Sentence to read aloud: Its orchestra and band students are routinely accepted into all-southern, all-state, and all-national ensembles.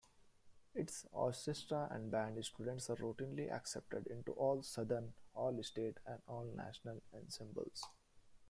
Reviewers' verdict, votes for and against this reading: rejected, 1, 2